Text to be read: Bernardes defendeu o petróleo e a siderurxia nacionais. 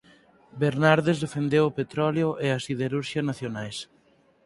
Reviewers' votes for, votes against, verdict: 4, 0, accepted